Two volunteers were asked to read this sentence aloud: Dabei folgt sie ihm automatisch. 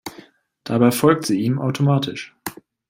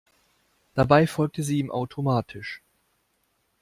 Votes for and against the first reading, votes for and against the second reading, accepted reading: 2, 0, 1, 2, first